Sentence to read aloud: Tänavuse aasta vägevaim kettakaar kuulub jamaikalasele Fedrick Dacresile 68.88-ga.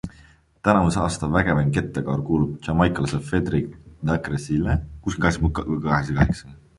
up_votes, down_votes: 0, 2